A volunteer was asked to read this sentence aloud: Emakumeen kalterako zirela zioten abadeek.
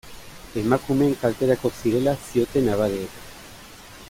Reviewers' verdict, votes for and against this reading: accepted, 2, 0